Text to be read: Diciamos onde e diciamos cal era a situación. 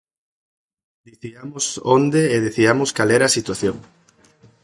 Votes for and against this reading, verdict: 2, 0, accepted